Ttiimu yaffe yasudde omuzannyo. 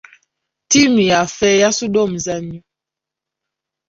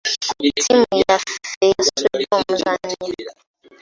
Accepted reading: first